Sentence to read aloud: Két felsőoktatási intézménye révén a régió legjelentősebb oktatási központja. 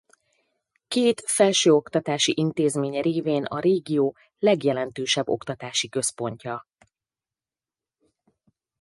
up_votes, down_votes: 4, 0